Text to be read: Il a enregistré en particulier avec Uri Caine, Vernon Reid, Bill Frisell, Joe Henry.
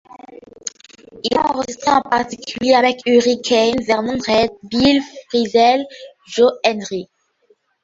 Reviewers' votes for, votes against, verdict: 0, 2, rejected